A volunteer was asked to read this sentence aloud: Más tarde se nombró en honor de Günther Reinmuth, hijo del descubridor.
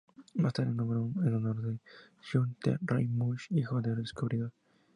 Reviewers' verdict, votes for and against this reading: rejected, 0, 4